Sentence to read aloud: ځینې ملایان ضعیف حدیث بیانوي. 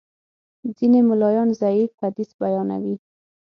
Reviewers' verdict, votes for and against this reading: accepted, 6, 0